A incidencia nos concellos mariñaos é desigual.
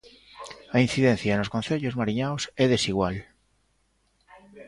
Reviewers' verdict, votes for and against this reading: rejected, 1, 2